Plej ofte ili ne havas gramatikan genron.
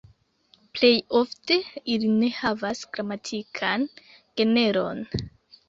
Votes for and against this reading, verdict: 0, 2, rejected